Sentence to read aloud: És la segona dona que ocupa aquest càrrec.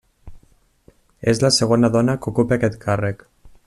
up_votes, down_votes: 3, 0